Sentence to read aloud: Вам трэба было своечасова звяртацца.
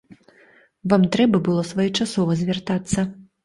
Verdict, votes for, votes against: accepted, 2, 0